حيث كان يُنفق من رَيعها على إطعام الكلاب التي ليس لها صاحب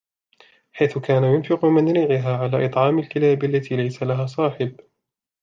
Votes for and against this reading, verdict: 2, 0, accepted